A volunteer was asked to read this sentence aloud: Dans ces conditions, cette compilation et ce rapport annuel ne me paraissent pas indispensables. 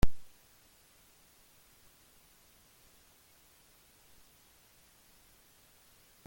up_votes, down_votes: 0, 2